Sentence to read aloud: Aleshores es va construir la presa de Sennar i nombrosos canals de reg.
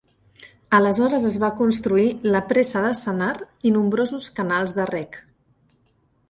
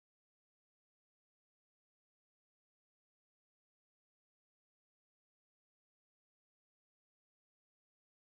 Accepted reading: first